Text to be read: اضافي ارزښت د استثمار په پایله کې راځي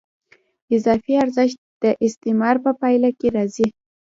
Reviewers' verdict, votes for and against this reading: accepted, 2, 0